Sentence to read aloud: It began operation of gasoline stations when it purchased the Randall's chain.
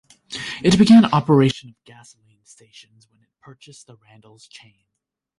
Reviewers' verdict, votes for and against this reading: rejected, 1, 2